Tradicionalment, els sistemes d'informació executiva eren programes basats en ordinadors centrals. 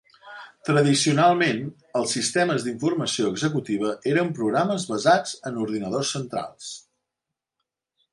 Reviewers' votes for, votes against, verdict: 3, 0, accepted